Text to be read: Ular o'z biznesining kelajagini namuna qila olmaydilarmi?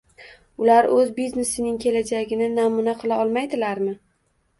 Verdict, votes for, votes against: accepted, 2, 0